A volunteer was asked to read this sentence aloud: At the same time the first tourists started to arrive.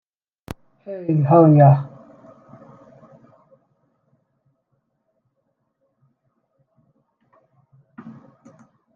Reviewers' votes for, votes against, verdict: 0, 2, rejected